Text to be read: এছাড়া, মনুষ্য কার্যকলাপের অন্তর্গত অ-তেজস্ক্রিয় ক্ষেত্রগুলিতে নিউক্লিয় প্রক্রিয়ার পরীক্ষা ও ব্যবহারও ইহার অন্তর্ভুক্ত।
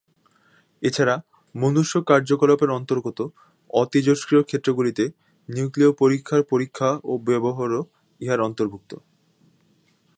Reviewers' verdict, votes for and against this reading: rejected, 0, 2